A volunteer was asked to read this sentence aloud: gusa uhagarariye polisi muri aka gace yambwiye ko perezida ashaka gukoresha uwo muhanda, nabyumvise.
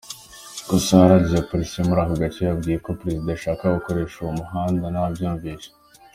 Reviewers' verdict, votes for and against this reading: accepted, 2, 0